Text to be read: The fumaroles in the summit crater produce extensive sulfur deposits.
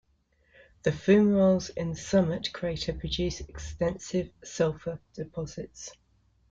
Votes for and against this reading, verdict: 2, 1, accepted